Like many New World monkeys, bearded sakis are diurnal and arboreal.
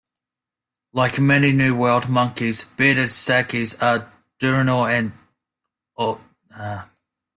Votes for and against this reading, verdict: 0, 2, rejected